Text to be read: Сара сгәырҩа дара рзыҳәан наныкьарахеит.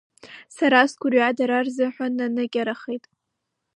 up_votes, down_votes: 1, 2